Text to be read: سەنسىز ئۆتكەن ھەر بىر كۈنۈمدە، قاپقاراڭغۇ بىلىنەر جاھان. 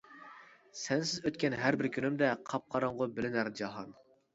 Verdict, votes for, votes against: accepted, 2, 0